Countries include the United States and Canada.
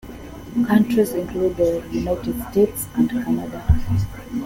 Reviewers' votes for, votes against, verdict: 0, 2, rejected